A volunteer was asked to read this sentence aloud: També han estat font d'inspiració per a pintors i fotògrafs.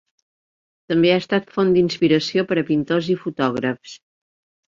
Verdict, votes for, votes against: rejected, 3, 4